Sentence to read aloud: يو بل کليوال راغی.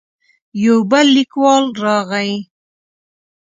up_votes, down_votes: 1, 2